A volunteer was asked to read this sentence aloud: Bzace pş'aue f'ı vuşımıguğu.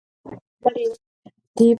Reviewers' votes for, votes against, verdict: 0, 2, rejected